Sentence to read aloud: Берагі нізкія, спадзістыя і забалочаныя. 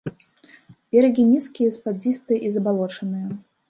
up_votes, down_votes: 0, 2